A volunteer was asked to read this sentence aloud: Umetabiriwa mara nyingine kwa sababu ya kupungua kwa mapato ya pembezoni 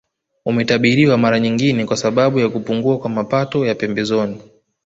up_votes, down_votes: 2, 0